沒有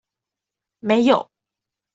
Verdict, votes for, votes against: accepted, 2, 0